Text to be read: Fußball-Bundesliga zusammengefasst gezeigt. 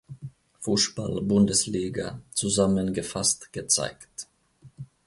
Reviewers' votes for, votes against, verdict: 0, 2, rejected